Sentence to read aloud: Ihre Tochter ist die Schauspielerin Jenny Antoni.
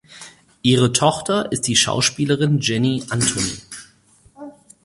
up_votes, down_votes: 2, 4